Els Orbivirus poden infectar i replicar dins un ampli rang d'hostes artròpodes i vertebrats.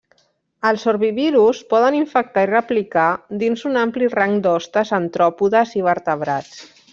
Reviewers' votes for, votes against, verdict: 1, 2, rejected